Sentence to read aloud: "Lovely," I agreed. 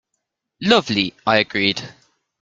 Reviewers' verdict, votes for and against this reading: accepted, 2, 0